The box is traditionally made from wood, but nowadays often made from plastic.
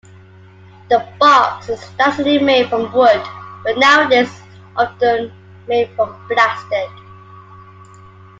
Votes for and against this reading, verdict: 0, 2, rejected